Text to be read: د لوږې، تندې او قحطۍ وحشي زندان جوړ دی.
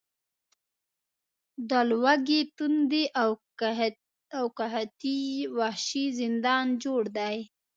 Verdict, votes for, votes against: rejected, 1, 2